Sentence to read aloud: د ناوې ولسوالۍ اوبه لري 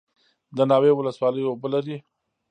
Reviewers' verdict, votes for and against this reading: accepted, 2, 0